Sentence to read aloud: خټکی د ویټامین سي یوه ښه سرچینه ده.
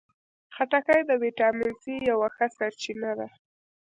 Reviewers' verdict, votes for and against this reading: accepted, 2, 0